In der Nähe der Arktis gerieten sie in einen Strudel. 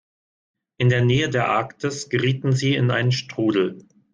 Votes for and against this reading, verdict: 2, 1, accepted